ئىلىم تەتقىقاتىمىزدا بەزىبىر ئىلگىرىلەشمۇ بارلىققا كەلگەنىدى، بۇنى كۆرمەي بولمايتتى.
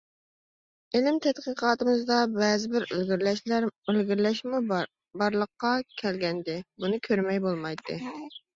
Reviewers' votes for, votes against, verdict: 0, 2, rejected